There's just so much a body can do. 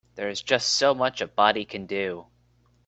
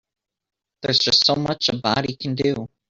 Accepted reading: first